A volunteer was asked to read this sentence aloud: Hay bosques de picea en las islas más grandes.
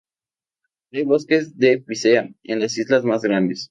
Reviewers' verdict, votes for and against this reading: accepted, 2, 0